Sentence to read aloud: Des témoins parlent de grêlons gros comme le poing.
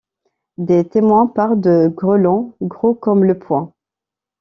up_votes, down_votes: 1, 2